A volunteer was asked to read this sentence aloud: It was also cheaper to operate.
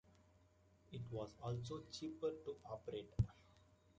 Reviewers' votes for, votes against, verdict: 2, 0, accepted